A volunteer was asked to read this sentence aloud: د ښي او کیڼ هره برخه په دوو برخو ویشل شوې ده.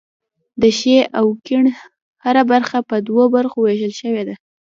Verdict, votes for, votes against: rejected, 1, 2